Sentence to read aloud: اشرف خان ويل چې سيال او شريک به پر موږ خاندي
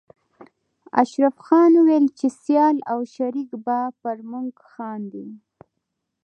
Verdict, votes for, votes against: rejected, 1, 2